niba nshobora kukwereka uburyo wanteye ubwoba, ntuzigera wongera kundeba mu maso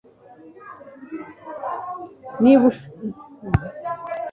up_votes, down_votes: 1, 2